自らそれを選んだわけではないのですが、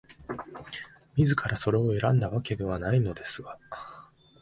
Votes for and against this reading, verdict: 6, 1, accepted